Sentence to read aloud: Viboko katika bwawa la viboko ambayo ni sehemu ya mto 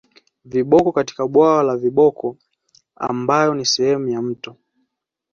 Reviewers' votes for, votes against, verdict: 2, 1, accepted